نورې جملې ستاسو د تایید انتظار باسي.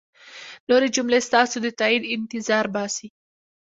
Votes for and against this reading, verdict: 1, 2, rejected